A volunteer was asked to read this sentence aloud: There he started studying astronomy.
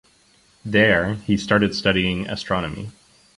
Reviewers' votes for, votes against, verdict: 2, 0, accepted